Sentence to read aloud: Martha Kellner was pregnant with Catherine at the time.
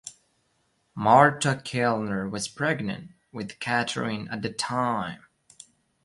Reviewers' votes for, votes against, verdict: 0, 2, rejected